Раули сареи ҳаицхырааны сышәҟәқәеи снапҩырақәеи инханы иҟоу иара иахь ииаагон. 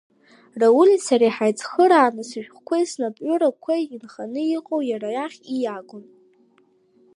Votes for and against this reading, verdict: 0, 2, rejected